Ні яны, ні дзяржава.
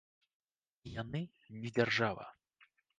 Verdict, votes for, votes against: rejected, 0, 2